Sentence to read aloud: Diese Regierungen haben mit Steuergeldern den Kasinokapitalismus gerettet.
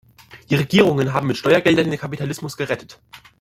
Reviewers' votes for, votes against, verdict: 0, 2, rejected